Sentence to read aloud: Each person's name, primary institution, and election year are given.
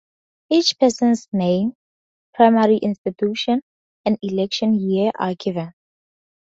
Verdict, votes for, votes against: accepted, 2, 0